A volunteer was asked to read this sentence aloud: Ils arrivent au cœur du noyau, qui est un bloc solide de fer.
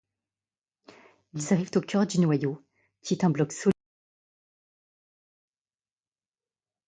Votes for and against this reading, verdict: 0, 2, rejected